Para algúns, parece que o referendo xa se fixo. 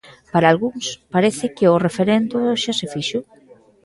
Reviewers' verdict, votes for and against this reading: accepted, 2, 1